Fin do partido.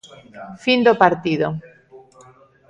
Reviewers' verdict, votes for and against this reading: accepted, 2, 0